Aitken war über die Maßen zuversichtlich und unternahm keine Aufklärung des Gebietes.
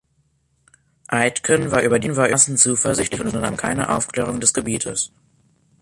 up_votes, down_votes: 1, 3